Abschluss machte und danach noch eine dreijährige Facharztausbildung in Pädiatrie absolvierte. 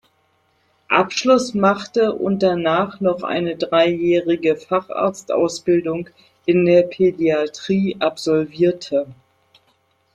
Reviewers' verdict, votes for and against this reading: rejected, 1, 2